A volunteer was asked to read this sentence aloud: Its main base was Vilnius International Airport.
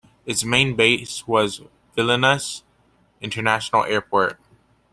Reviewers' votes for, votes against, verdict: 2, 0, accepted